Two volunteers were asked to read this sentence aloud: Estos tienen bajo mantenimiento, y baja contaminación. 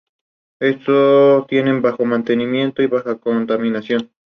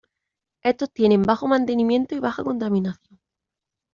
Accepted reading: first